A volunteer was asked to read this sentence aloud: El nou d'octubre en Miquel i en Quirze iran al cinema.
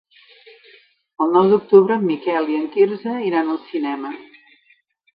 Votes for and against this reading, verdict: 4, 0, accepted